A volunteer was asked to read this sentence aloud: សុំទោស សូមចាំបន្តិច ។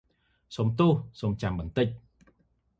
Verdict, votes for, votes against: accepted, 2, 0